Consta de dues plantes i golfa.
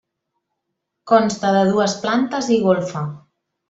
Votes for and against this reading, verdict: 3, 0, accepted